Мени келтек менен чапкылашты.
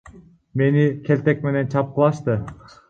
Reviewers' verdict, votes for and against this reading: rejected, 0, 2